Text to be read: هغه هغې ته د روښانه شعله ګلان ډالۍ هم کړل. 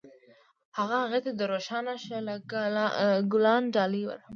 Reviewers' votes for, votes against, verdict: 0, 2, rejected